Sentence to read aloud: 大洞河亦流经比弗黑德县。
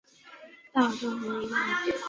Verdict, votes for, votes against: rejected, 0, 3